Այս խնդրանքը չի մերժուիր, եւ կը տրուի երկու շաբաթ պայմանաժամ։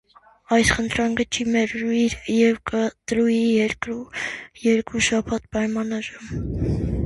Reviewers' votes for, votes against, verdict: 0, 2, rejected